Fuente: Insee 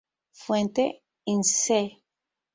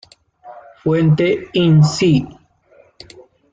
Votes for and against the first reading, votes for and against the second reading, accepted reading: 6, 0, 1, 2, first